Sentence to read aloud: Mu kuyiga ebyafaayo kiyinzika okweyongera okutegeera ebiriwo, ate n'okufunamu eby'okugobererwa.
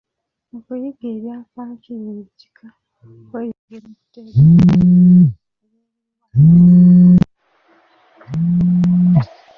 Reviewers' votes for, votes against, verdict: 0, 2, rejected